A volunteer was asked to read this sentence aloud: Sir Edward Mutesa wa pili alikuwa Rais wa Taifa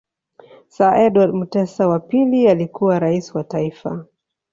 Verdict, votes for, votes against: accepted, 2, 0